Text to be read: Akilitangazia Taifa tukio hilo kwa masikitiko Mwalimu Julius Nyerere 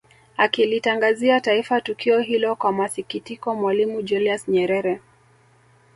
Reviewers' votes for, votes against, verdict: 1, 2, rejected